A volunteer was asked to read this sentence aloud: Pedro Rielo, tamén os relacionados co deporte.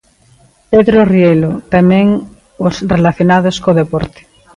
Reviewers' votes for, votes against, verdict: 2, 0, accepted